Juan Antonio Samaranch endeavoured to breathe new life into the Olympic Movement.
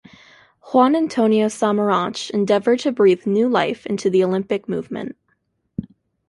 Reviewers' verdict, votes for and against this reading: accepted, 2, 0